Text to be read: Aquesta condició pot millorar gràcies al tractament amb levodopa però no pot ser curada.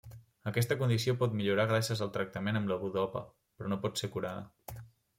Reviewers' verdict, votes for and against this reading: rejected, 1, 2